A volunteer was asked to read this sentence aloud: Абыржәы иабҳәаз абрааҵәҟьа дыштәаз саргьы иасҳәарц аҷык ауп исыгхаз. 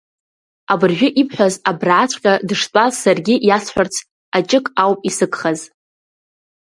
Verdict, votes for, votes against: rejected, 1, 2